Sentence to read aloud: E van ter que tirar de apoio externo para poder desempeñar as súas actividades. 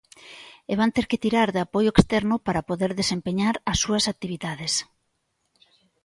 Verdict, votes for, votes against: accepted, 2, 0